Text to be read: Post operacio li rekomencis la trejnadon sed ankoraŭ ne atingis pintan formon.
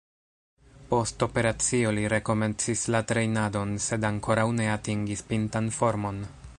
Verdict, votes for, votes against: rejected, 0, 2